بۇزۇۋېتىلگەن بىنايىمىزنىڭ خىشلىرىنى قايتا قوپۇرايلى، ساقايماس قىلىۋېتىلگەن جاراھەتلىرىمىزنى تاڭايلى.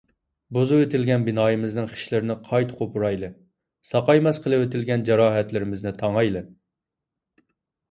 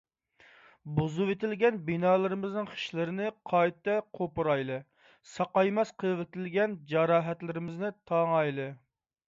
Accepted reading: first